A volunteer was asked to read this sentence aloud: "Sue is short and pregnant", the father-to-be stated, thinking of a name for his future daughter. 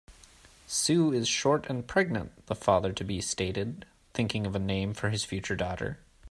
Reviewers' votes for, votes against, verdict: 4, 0, accepted